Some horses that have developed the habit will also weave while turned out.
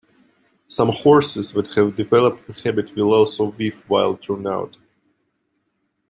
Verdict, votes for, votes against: accepted, 2, 0